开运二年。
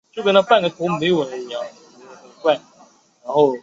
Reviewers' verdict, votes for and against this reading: rejected, 2, 4